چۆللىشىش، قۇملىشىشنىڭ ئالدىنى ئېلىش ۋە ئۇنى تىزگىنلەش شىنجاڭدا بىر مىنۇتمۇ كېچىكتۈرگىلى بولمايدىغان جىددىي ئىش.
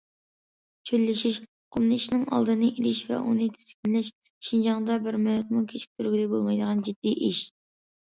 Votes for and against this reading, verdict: 2, 0, accepted